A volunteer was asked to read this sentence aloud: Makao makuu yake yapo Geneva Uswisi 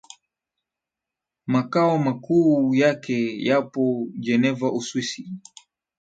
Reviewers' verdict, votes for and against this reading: accepted, 9, 0